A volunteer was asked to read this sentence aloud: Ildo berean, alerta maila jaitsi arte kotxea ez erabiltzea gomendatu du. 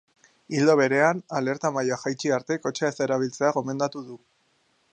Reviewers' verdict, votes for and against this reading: accepted, 2, 0